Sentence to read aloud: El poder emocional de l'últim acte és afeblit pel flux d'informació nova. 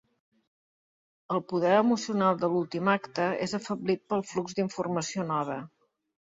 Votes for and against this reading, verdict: 2, 0, accepted